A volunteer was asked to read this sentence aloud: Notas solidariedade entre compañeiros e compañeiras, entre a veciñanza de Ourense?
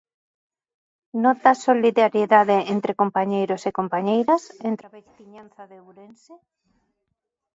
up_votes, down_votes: 1, 2